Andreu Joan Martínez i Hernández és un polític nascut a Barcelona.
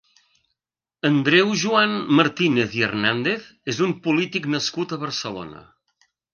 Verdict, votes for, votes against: accepted, 2, 0